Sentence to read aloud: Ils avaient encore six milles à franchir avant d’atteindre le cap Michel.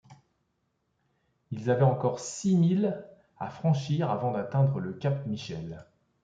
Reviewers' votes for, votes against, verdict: 2, 0, accepted